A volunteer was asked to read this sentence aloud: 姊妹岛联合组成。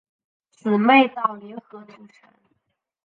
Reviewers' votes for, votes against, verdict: 1, 2, rejected